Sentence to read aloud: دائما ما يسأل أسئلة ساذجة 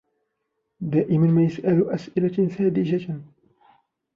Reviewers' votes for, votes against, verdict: 0, 2, rejected